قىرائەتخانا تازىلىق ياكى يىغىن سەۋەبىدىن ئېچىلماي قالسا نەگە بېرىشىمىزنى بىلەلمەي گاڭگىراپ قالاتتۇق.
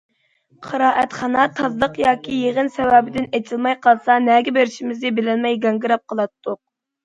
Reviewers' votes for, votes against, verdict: 2, 0, accepted